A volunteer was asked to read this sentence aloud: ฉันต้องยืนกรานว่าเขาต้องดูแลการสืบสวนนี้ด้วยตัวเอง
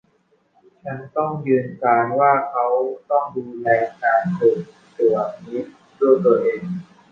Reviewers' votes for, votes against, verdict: 1, 2, rejected